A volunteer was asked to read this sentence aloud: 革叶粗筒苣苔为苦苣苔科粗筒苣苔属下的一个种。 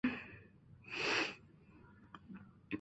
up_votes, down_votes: 0, 4